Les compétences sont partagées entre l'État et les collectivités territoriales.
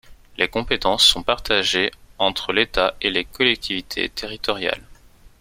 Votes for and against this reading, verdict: 2, 0, accepted